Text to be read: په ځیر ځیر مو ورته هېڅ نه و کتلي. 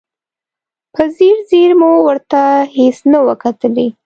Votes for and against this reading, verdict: 2, 0, accepted